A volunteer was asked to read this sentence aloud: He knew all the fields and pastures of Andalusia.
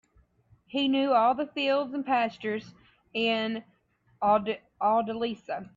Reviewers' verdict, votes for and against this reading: rejected, 2, 17